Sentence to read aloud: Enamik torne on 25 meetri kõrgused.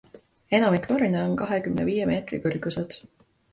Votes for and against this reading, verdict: 0, 2, rejected